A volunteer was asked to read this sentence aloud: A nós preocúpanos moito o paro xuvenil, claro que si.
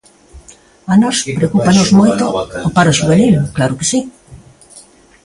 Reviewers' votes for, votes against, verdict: 2, 1, accepted